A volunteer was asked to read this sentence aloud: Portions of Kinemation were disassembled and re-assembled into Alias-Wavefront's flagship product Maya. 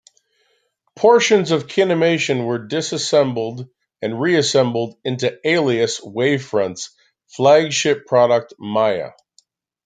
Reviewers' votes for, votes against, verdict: 2, 0, accepted